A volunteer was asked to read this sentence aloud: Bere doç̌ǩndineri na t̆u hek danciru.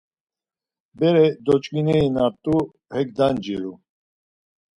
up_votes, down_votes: 0, 4